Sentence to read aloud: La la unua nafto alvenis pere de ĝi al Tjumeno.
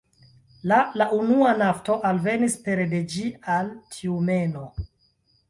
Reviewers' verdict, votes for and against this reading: accepted, 2, 0